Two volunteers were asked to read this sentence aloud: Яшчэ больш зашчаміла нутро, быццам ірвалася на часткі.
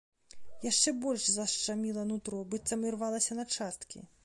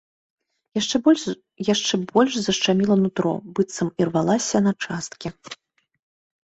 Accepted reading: first